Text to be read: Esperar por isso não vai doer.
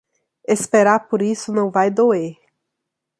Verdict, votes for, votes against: accepted, 3, 0